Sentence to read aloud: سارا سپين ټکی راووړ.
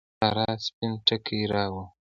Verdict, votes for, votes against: rejected, 0, 2